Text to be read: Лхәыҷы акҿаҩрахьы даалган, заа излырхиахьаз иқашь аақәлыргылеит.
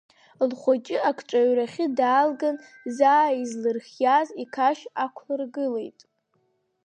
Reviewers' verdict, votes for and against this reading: accepted, 3, 2